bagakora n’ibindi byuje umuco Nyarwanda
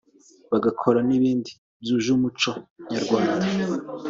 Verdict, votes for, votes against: accepted, 2, 0